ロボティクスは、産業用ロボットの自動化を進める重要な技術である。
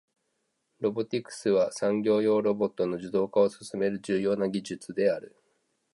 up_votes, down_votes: 3, 0